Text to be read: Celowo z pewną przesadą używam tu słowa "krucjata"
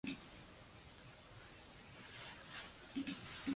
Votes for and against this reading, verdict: 0, 2, rejected